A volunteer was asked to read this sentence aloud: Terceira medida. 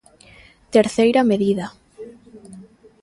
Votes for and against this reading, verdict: 1, 2, rejected